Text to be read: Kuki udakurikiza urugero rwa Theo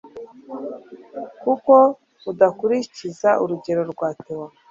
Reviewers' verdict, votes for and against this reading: accepted, 2, 1